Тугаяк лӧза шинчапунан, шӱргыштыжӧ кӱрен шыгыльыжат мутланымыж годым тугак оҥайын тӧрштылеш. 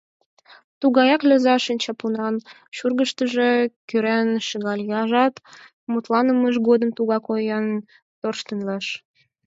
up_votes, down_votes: 2, 6